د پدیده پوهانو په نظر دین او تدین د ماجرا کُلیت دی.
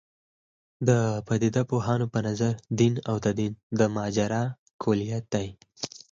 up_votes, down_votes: 0, 4